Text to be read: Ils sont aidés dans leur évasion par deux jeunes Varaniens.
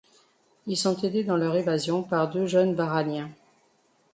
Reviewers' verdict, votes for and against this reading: accepted, 2, 0